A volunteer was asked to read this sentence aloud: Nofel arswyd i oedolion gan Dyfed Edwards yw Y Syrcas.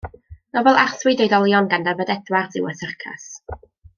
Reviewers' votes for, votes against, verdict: 2, 0, accepted